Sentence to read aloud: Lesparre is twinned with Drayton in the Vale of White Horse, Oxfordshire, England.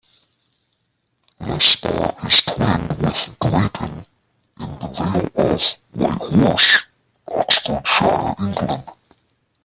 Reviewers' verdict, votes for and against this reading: rejected, 0, 2